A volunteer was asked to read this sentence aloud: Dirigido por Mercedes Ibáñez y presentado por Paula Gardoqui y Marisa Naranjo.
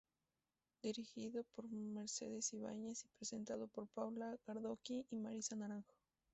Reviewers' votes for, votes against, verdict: 0, 2, rejected